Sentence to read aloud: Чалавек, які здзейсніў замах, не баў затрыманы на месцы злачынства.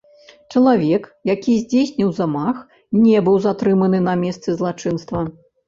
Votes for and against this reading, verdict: 0, 2, rejected